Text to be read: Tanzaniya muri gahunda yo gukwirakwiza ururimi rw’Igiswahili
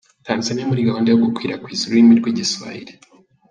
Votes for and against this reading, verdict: 1, 2, rejected